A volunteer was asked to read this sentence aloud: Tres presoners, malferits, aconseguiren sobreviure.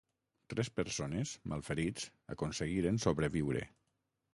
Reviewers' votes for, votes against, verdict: 3, 6, rejected